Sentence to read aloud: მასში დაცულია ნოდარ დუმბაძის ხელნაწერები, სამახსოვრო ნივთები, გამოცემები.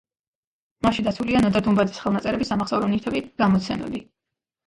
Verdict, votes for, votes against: rejected, 1, 2